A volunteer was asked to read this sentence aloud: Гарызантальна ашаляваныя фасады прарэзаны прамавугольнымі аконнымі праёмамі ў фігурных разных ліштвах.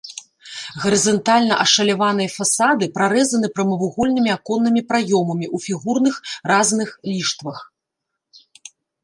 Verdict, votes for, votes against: rejected, 0, 2